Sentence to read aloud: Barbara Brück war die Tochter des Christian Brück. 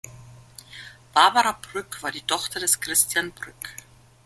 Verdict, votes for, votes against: accepted, 2, 0